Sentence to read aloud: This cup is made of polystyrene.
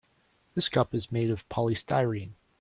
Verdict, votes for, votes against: accepted, 3, 0